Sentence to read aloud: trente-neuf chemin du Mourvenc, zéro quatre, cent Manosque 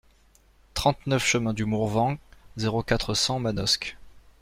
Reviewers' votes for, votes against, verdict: 2, 0, accepted